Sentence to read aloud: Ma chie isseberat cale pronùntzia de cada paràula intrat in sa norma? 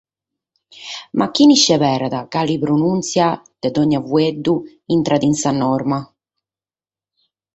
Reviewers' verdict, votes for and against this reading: rejected, 2, 4